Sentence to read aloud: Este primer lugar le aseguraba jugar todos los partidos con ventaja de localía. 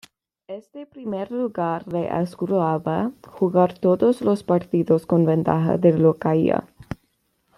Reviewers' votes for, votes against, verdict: 1, 2, rejected